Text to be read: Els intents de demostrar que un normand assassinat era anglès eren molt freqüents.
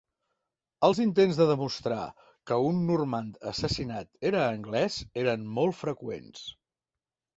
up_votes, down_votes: 2, 0